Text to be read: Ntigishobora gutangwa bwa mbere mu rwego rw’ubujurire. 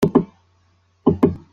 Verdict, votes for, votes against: rejected, 0, 2